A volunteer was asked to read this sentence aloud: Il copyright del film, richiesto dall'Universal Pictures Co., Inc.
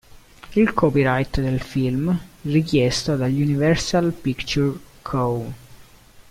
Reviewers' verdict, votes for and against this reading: rejected, 0, 2